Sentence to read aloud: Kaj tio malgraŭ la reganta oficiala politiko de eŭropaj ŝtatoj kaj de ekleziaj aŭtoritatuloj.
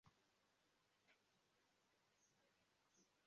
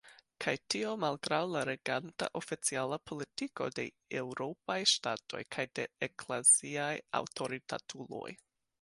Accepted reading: second